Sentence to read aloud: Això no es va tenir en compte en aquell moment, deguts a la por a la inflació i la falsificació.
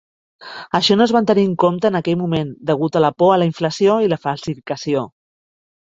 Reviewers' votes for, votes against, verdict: 1, 2, rejected